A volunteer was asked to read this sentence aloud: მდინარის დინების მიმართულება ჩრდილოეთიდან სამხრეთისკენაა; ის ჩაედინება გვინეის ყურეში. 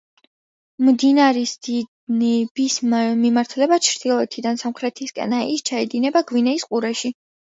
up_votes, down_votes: 2, 0